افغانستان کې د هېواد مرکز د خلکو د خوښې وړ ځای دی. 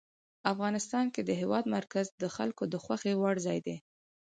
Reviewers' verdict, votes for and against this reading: rejected, 2, 4